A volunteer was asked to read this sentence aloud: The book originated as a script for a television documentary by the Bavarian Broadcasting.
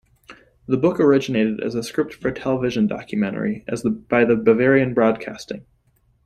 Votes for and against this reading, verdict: 1, 2, rejected